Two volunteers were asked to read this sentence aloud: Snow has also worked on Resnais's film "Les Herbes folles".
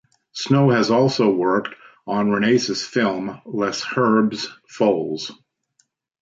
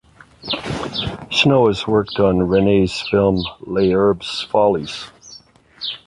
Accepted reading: first